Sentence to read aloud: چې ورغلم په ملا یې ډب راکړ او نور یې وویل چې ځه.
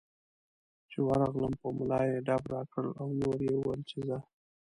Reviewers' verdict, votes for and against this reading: rejected, 0, 2